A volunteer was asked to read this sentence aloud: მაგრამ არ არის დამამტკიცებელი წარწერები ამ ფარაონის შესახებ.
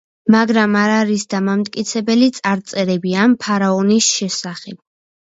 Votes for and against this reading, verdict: 2, 0, accepted